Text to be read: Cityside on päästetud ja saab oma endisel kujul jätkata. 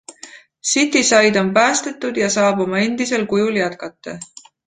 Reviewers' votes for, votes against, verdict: 2, 0, accepted